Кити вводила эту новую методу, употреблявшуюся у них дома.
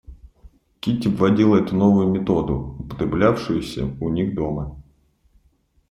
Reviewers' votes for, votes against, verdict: 1, 2, rejected